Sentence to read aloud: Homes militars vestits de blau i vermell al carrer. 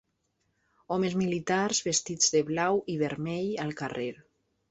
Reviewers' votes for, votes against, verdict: 3, 0, accepted